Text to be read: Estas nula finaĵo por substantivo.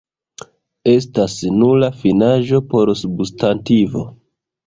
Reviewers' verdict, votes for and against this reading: rejected, 1, 2